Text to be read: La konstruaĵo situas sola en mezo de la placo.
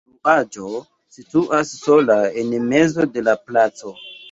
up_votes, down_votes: 1, 2